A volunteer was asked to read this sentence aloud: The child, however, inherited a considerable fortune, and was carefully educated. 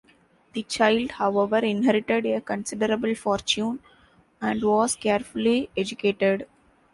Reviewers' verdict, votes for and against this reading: accepted, 2, 0